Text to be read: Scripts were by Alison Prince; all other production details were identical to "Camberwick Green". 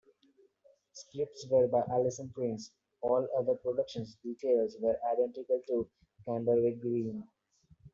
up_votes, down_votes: 0, 2